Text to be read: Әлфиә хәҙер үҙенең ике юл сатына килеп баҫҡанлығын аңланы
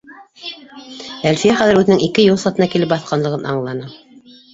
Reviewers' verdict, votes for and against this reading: rejected, 1, 2